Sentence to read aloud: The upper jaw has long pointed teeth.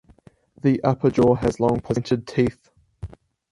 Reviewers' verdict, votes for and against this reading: rejected, 2, 2